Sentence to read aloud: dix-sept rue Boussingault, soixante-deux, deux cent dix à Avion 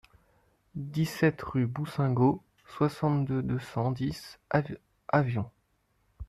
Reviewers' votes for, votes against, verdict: 0, 2, rejected